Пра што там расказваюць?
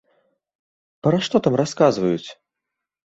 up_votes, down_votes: 2, 0